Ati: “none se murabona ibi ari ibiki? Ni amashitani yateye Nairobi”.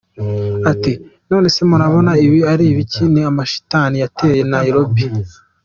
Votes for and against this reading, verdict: 2, 0, accepted